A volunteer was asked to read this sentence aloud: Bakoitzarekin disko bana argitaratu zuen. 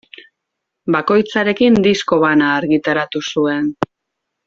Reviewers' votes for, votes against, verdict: 2, 0, accepted